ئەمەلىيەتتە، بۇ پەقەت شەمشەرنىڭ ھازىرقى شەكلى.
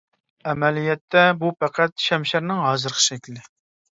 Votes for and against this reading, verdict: 2, 0, accepted